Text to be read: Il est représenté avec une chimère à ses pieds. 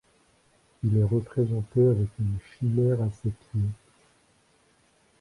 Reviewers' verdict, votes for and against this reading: rejected, 0, 2